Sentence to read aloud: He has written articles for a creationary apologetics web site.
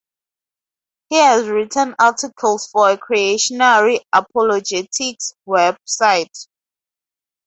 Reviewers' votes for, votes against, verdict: 0, 2, rejected